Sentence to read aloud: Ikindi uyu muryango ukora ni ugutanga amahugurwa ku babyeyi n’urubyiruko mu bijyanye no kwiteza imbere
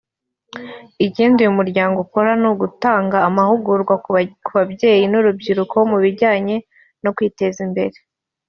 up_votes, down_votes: 1, 2